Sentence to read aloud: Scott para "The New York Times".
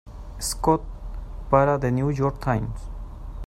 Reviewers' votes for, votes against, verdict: 0, 2, rejected